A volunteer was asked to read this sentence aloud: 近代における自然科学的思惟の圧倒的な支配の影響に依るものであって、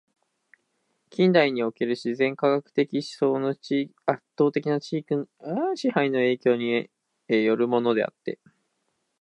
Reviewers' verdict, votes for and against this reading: rejected, 0, 2